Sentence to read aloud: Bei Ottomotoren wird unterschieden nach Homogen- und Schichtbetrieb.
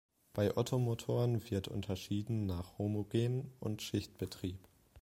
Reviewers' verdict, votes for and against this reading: accepted, 2, 0